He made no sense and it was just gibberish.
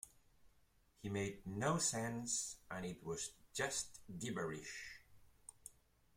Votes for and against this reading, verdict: 2, 1, accepted